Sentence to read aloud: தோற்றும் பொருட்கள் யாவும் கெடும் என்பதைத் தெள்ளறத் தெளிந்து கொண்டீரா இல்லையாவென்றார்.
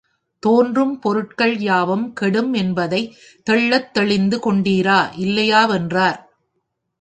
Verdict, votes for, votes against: accepted, 2, 1